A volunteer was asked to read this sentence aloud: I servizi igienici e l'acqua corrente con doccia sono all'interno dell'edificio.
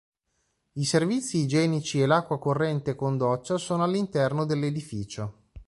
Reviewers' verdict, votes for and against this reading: accepted, 2, 0